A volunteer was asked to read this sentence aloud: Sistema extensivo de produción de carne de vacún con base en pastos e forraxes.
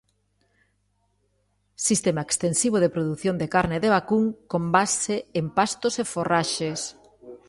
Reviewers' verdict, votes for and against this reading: rejected, 1, 2